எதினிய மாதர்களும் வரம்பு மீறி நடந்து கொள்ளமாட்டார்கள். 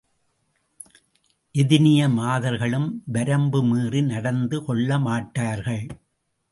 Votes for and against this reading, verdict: 2, 0, accepted